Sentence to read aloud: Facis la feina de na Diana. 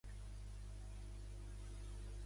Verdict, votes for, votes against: rejected, 0, 2